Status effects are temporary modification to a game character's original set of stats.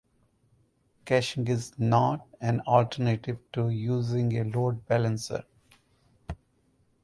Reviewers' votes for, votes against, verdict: 0, 4, rejected